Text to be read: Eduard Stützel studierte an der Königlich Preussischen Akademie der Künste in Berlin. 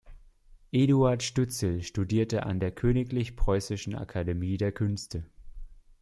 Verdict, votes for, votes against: rejected, 0, 2